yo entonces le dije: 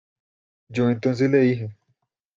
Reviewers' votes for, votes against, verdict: 2, 1, accepted